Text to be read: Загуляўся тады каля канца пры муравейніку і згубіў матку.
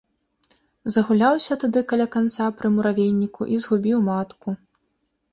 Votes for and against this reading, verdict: 2, 0, accepted